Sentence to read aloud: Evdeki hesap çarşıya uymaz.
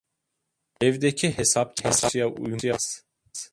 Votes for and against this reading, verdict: 0, 2, rejected